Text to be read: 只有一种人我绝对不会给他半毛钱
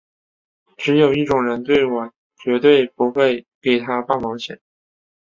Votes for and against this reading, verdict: 3, 3, rejected